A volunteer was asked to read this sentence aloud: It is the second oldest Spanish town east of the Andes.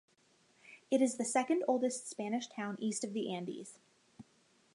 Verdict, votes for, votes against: accepted, 2, 0